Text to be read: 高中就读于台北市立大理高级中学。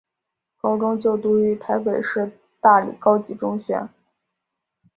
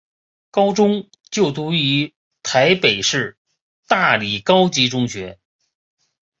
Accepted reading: first